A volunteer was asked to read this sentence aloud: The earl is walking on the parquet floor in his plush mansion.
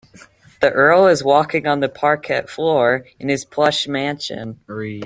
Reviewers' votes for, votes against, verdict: 0, 2, rejected